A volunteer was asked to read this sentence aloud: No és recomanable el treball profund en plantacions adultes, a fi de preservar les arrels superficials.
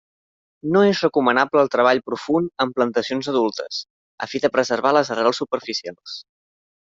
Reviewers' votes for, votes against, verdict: 1, 2, rejected